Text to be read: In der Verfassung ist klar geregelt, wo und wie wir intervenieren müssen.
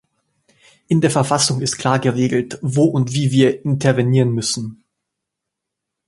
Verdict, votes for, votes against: accepted, 2, 0